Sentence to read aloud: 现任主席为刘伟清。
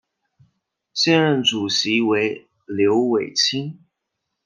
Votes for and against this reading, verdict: 2, 1, accepted